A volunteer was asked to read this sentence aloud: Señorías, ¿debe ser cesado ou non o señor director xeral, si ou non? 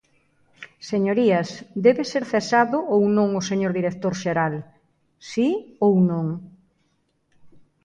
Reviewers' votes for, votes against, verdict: 2, 0, accepted